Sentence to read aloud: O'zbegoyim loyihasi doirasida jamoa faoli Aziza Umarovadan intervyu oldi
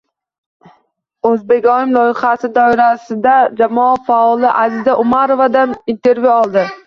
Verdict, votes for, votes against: accepted, 2, 0